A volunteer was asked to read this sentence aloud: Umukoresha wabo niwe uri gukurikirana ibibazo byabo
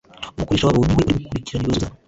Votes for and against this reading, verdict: 1, 2, rejected